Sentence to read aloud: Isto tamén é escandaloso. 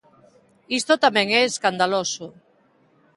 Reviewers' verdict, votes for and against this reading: accepted, 3, 0